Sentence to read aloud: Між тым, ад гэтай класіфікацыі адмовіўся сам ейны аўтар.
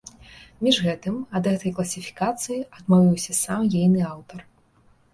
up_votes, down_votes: 0, 2